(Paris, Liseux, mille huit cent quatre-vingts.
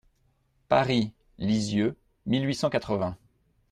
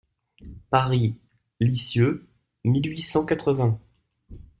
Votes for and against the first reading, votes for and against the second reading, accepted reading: 0, 2, 2, 0, second